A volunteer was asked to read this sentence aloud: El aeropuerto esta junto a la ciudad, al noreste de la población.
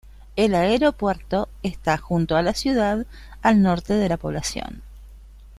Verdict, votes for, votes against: rejected, 0, 2